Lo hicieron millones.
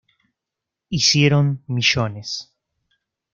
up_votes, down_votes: 0, 2